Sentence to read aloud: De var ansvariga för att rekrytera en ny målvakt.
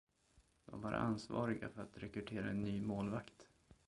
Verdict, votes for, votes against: rejected, 1, 2